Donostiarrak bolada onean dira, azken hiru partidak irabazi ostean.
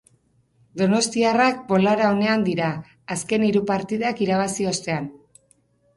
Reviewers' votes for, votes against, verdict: 4, 0, accepted